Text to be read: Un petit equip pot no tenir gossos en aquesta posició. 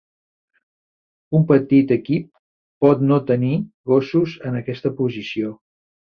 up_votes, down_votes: 3, 0